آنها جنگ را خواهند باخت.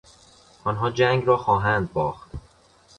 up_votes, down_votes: 2, 0